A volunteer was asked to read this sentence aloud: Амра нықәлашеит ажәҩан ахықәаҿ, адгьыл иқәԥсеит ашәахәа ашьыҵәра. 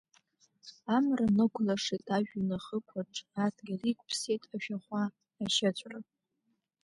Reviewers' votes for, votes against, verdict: 1, 2, rejected